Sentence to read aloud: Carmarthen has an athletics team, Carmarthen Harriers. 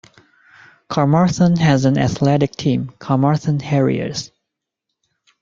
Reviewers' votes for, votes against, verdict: 1, 2, rejected